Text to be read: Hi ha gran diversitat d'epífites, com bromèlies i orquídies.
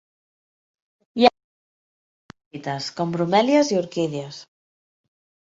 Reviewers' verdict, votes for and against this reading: rejected, 0, 2